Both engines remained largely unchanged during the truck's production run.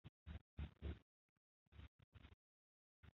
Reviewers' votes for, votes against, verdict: 0, 2, rejected